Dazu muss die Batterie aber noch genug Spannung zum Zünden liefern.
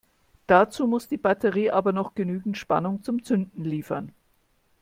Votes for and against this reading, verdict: 1, 2, rejected